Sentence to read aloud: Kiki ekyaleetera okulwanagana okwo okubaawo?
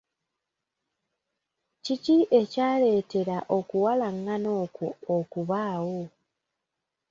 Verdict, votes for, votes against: rejected, 0, 2